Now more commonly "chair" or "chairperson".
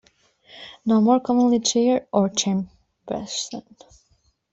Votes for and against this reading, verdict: 0, 2, rejected